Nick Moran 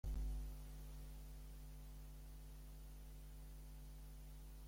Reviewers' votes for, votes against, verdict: 0, 2, rejected